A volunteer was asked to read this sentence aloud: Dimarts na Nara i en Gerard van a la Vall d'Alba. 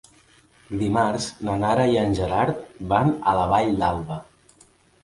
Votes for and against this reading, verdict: 2, 0, accepted